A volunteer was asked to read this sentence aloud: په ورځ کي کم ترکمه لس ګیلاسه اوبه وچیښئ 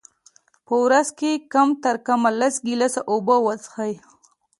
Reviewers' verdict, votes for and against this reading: accepted, 2, 0